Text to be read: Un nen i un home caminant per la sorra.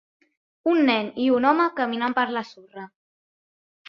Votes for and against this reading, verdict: 2, 0, accepted